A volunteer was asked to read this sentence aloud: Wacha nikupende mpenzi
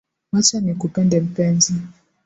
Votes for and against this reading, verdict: 2, 1, accepted